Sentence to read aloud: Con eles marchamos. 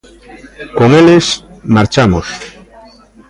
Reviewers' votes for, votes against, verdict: 2, 0, accepted